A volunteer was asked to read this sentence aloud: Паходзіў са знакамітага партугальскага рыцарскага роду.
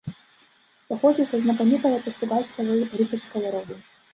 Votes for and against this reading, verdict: 0, 2, rejected